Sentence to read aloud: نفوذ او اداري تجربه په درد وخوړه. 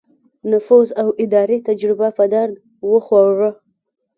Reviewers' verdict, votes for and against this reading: accepted, 2, 1